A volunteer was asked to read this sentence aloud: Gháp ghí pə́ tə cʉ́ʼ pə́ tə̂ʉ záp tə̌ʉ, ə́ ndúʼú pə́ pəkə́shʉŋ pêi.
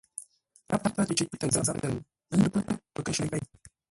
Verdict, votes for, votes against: rejected, 0, 2